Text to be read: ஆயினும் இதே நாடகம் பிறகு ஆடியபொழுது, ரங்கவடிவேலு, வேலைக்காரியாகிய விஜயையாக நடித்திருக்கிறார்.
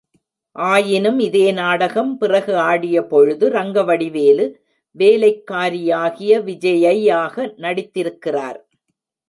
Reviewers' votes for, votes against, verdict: 2, 0, accepted